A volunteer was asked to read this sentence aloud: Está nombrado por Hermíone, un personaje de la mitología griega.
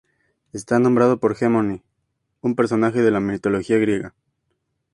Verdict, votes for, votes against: accepted, 4, 0